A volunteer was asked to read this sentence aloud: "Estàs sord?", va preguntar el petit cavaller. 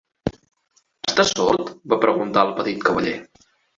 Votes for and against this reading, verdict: 1, 2, rejected